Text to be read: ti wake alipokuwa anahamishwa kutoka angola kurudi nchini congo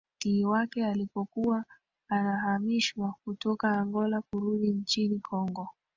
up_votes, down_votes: 2, 1